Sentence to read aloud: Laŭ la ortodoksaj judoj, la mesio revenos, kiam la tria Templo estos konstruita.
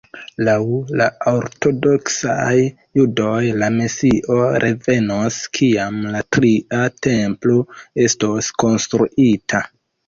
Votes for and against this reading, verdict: 2, 0, accepted